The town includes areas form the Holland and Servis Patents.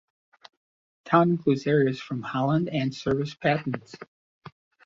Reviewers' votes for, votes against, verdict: 0, 2, rejected